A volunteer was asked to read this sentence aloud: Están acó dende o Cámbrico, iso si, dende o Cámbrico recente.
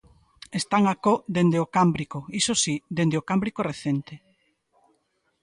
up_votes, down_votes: 2, 0